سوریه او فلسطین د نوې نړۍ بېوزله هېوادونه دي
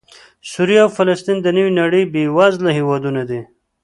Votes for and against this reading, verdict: 2, 0, accepted